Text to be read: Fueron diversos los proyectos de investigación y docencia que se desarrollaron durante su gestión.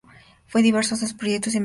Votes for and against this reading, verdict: 0, 4, rejected